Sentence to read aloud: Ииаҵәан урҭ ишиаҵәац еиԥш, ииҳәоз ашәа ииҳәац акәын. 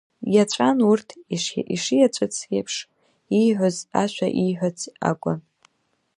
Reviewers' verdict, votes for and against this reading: rejected, 1, 2